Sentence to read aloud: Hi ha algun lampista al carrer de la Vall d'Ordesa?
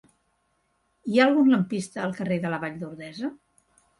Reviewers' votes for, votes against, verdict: 3, 0, accepted